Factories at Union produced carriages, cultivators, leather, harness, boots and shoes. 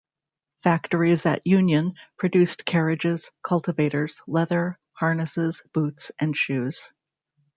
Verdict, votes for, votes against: rejected, 1, 2